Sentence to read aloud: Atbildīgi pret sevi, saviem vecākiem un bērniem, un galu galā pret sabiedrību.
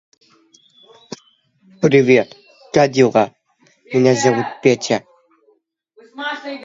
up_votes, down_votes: 0, 2